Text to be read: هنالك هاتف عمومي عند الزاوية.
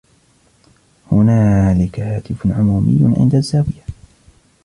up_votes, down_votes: 2, 0